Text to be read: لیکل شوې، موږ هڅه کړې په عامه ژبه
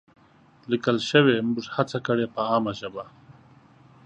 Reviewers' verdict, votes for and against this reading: accepted, 2, 0